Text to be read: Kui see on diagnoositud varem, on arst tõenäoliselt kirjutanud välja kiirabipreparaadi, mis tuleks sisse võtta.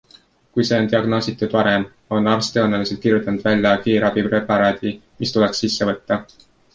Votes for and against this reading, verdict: 2, 1, accepted